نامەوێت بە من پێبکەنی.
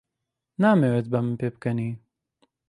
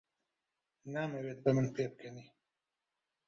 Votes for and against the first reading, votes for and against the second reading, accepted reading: 2, 0, 1, 2, first